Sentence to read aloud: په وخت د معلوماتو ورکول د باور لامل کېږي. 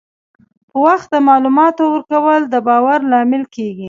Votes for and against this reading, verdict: 2, 0, accepted